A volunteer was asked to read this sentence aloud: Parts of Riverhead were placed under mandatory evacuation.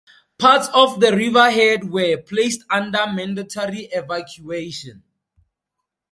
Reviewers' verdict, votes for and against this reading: accepted, 2, 0